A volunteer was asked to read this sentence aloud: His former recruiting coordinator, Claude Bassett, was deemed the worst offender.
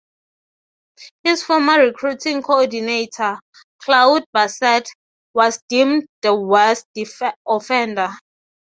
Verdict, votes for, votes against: accepted, 9, 6